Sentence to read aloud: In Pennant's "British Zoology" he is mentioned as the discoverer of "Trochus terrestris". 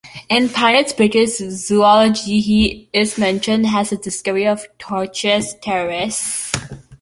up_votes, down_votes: 0, 2